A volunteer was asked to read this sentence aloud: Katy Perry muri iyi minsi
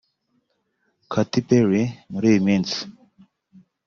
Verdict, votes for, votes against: accepted, 2, 0